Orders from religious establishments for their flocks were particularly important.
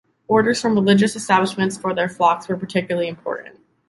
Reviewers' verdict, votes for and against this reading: accepted, 2, 0